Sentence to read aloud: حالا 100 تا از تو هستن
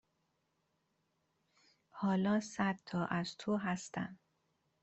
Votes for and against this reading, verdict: 0, 2, rejected